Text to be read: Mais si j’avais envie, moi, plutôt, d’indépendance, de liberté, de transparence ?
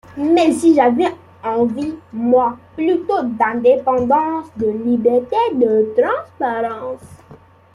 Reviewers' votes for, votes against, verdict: 2, 0, accepted